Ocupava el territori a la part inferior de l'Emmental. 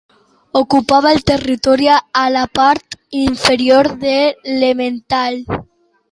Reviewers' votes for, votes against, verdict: 1, 2, rejected